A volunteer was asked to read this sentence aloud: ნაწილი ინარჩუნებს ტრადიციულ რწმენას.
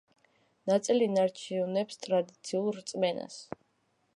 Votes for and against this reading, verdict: 1, 2, rejected